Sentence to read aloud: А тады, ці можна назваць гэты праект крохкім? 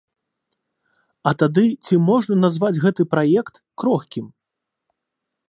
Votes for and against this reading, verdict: 2, 0, accepted